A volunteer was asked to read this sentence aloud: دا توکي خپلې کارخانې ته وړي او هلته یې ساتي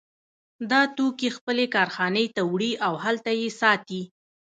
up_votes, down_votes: 1, 2